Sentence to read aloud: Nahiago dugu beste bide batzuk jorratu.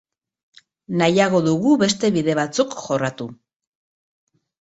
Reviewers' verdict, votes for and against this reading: accepted, 2, 0